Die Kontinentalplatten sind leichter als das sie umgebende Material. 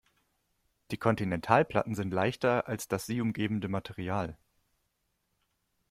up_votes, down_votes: 2, 0